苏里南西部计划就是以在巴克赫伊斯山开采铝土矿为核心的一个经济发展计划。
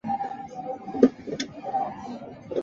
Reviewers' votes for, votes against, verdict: 0, 2, rejected